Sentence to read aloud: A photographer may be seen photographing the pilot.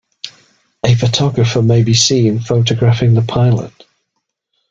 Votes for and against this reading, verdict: 2, 0, accepted